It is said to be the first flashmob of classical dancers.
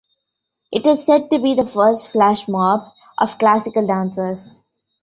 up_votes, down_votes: 2, 0